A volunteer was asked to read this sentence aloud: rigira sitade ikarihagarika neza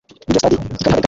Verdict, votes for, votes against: rejected, 0, 2